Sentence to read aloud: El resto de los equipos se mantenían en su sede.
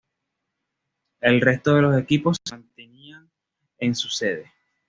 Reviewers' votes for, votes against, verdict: 2, 0, accepted